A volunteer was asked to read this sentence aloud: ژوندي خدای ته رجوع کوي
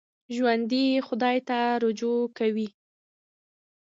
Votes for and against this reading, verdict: 1, 2, rejected